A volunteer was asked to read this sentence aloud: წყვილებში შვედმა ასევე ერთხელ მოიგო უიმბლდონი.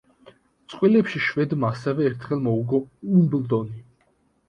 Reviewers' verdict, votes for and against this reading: rejected, 0, 3